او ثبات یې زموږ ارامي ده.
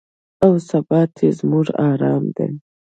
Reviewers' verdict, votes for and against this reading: rejected, 0, 2